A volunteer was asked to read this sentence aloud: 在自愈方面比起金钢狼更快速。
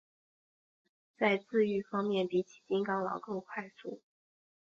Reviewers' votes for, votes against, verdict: 0, 2, rejected